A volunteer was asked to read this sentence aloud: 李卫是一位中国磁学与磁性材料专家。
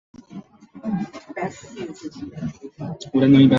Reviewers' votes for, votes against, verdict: 0, 2, rejected